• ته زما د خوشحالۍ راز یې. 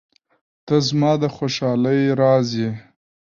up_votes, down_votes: 0, 2